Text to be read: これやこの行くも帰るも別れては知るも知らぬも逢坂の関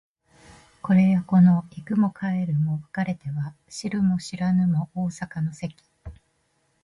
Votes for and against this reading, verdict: 2, 1, accepted